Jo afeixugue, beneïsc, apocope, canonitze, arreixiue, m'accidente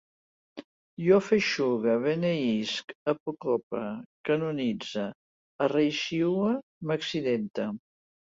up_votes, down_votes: 2, 0